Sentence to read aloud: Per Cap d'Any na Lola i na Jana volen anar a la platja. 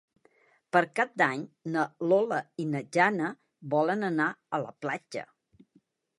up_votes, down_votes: 3, 0